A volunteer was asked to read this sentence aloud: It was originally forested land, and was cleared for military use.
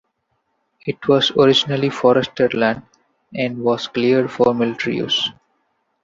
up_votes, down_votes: 2, 0